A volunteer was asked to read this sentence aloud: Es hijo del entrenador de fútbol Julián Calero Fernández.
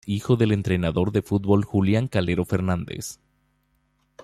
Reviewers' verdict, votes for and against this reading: rejected, 0, 2